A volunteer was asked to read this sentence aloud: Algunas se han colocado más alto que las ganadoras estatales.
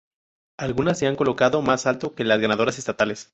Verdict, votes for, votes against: rejected, 0, 2